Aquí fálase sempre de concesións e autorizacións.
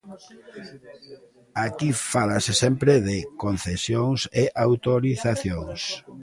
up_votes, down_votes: 2, 0